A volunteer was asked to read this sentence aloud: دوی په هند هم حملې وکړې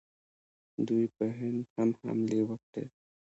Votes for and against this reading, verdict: 2, 1, accepted